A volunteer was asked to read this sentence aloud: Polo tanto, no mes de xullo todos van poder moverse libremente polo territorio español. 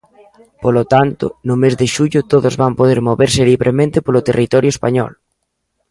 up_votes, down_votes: 2, 0